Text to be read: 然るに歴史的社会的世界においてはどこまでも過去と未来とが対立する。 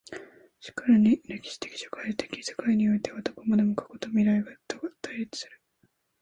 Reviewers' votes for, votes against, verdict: 2, 0, accepted